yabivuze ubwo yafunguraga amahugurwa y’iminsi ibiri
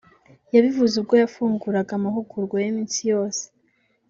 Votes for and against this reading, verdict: 1, 2, rejected